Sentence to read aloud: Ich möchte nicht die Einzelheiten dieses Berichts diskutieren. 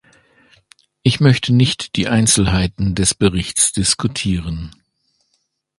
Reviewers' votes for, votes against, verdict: 0, 2, rejected